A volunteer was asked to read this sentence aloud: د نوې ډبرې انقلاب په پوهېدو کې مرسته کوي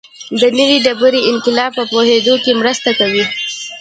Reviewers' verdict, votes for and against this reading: rejected, 1, 2